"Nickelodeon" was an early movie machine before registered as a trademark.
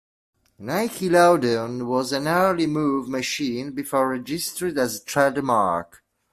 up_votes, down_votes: 0, 2